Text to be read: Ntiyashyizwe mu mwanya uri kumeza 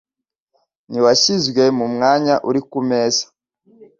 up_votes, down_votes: 2, 0